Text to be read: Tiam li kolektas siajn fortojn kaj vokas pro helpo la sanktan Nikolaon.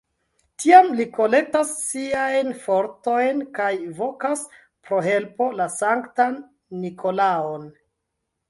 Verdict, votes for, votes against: accepted, 2, 1